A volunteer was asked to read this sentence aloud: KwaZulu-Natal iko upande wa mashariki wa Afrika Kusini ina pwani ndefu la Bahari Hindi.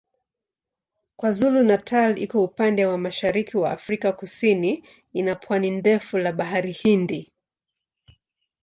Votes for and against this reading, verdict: 3, 0, accepted